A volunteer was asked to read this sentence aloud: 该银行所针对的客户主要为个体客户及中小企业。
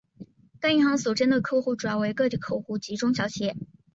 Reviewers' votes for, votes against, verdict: 2, 1, accepted